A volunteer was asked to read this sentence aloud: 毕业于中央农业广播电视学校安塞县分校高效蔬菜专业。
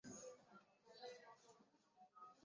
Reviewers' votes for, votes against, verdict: 0, 3, rejected